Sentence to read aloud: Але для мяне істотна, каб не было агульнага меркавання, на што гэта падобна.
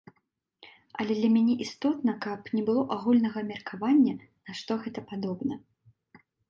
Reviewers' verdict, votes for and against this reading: accepted, 2, 0